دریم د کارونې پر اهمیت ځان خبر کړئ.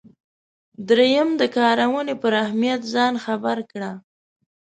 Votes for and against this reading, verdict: 1, 2, rejected